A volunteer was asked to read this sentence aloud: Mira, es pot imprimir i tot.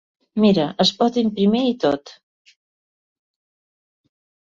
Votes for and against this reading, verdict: 0, 2, rejected